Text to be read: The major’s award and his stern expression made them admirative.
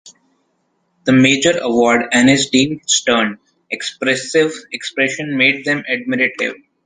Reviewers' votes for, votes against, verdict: 1, 2, rejected